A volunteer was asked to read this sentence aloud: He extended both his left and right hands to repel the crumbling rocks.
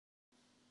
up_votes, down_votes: 0, 2